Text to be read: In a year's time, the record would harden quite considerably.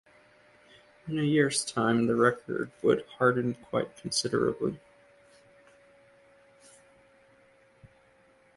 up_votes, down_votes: 2, 0